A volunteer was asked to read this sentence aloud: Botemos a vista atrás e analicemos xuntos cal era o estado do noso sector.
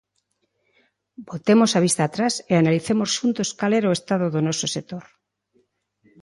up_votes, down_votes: 2, 0